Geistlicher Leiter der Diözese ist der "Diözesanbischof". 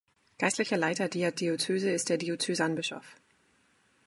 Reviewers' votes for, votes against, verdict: 0, 2, rejected